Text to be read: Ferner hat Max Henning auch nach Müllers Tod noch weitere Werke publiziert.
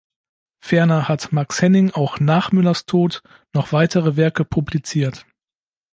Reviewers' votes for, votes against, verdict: 2, 0, accepted